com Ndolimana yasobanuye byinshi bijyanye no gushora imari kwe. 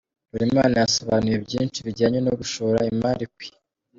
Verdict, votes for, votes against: rejected, 1, 2